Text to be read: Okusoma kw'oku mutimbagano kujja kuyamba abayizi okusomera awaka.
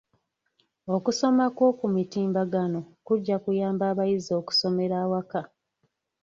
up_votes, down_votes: 3, 0